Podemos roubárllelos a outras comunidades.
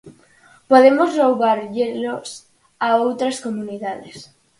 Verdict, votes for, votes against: accepted, 4, 0